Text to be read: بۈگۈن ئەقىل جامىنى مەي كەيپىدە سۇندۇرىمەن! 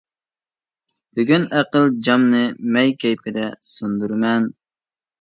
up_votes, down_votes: 0, 2